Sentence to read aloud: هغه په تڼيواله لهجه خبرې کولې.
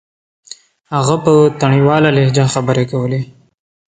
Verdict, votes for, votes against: accepted, 2, 0